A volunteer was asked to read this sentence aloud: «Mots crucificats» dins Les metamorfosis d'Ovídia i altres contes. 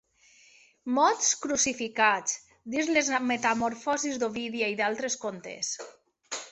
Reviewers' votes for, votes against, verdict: 0, 2, rejected